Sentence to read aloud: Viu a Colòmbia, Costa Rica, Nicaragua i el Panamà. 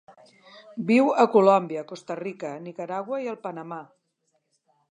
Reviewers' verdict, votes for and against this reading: accepted, 4, 0